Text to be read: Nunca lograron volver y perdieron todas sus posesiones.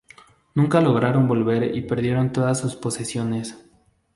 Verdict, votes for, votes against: accepted, 2, 0